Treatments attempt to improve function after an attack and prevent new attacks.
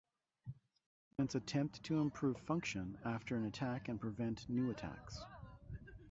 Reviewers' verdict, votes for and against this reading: rejected, 0, 4